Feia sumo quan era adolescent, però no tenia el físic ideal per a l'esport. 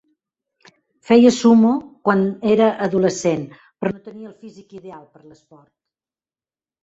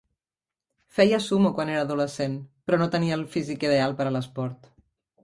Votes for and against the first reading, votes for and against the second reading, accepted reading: 0, 2, 4, 0, second